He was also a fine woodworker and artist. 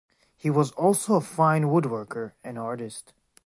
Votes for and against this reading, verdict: 3, 0, accepted